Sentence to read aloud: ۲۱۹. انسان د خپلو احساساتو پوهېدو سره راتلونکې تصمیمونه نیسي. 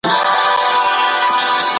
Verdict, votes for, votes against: rejected, 0, 2